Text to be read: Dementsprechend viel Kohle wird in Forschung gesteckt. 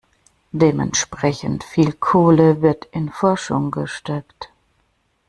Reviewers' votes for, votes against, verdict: 2, 0, accepted